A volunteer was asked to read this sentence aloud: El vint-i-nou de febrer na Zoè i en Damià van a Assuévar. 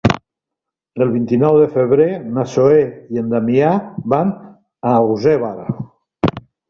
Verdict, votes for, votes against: rejected, 0, 2